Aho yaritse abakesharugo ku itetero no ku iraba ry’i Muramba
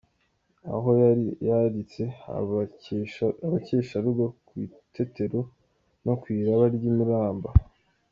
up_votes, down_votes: 2, 0